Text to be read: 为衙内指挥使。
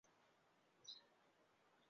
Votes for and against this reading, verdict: 0, 6, rejected